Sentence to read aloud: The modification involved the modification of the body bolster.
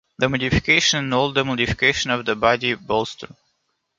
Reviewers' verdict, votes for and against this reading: rejected, 0, 2